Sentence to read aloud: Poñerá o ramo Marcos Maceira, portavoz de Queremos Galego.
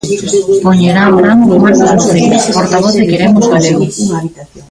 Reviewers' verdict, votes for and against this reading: rejected, 0, 2